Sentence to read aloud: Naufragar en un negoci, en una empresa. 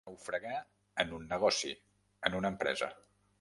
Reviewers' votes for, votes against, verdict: 1, 2, rejected